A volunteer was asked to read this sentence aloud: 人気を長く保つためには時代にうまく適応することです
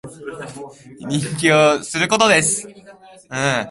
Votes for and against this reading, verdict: 1, 2, rejected